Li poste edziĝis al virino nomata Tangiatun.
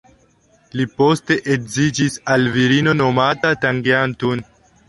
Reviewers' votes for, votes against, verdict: 0, 2, rejected